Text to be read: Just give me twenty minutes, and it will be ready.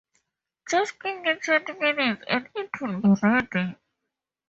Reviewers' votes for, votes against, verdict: 0, 4, rejected